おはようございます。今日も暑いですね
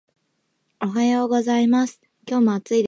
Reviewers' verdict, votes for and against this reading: rejected, 1, 2